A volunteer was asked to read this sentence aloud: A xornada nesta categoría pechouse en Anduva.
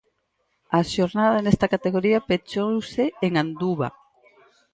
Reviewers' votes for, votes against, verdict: 6, 0, accepted